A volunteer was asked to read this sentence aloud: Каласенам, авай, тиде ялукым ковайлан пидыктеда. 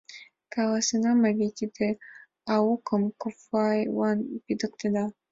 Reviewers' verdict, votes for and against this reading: rejected, 1, 2